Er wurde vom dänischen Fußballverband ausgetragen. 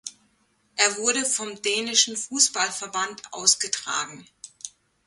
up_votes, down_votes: 2, 0